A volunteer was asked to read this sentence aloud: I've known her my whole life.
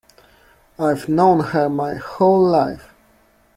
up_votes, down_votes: 2, 0